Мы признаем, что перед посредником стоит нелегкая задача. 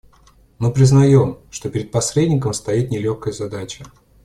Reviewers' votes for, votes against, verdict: 2, 0, accepted